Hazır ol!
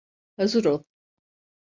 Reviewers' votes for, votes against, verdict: 2, 0, accepted